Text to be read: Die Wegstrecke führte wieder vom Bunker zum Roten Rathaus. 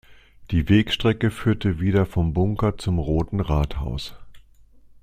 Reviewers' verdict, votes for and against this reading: accepted, 2, 0